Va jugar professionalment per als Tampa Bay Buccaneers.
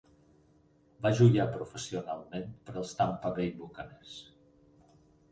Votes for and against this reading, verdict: 2, 4, rejected